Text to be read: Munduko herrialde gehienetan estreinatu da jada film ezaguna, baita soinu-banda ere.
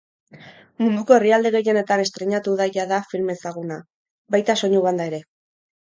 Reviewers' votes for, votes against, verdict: 4, 0, accepted